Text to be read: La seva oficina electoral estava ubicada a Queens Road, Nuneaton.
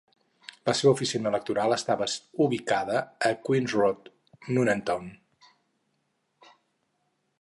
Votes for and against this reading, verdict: 2, 2, rejected